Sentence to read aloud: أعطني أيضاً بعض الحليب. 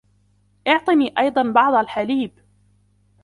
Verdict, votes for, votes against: accepted, 2, 0